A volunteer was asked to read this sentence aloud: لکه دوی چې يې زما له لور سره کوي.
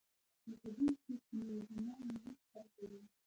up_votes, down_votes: 2, 0